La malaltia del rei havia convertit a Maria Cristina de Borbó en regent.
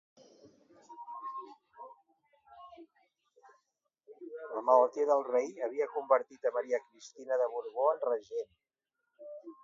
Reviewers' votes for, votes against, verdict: 1, 2, rejected